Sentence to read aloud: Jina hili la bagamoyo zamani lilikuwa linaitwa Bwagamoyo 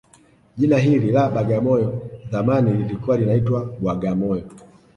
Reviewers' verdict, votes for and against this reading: rejected, 1, 2